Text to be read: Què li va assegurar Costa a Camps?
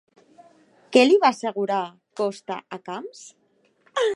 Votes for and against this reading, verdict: 3, 0, accepted